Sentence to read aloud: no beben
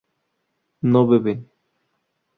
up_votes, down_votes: 2, 2